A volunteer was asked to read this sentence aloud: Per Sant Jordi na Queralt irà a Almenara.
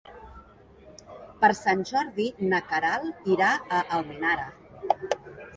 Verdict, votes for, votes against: accepted, 3, 0